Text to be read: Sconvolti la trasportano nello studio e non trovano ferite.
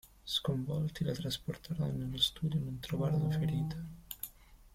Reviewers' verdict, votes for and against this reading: rejected, 0, 2